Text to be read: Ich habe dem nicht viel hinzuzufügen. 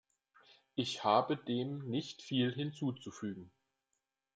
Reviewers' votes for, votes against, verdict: 2, 0, accepted